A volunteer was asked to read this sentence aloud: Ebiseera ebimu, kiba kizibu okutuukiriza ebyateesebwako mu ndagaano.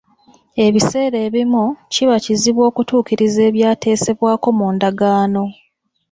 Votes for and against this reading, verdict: 2, 0, accepted